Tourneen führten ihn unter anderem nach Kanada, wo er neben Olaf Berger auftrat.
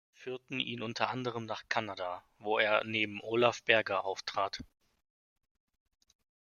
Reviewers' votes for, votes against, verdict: 0, 2, rejected